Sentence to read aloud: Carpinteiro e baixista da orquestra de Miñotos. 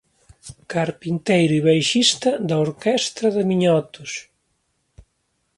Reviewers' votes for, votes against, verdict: 1, 2, rejected